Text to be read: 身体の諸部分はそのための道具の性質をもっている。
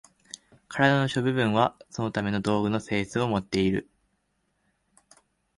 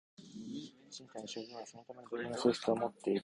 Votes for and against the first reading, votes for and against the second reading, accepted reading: 2, 0, 1, 2, first